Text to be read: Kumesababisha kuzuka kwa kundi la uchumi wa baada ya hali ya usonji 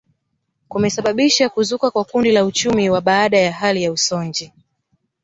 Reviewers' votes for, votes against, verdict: 0, 2, rejected